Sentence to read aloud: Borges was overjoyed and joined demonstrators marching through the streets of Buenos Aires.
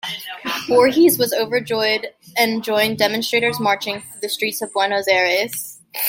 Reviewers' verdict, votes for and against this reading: rejected, 1, 2